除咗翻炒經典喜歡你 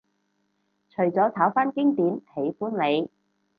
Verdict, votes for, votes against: rejected, 2, 2